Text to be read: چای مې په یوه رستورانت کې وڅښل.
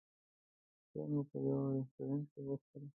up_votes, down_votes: 0, 2